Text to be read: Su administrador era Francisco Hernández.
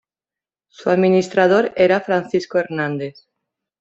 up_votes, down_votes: 2, 0